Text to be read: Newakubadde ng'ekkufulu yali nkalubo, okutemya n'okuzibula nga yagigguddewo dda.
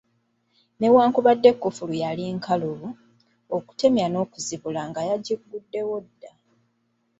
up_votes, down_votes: 1, 2